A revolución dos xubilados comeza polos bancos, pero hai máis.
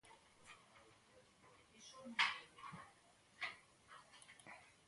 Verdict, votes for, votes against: rejected, 0, 2